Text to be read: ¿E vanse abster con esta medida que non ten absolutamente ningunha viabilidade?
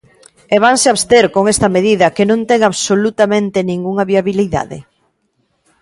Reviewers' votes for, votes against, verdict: 2, 0, accepted